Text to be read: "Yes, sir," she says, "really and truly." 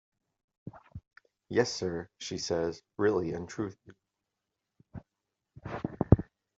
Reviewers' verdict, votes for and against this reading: rejected, 0, 2